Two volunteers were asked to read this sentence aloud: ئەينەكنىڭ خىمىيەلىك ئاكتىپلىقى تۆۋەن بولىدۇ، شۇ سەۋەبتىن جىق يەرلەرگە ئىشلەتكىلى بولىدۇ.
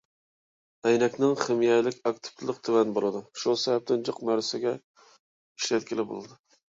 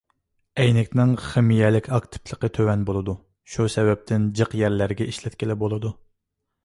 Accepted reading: second